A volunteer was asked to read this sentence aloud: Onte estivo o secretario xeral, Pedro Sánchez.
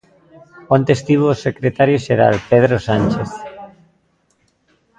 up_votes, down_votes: 3, 0